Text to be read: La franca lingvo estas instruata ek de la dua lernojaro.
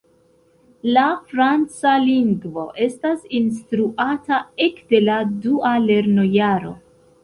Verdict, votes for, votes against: rejected, 0, 2